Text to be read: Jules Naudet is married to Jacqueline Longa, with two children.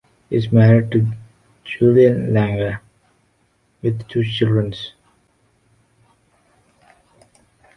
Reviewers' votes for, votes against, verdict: 0, 2, rejected